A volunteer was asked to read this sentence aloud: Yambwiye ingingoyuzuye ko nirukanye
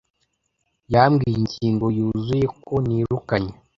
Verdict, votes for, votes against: accepted, 2, 0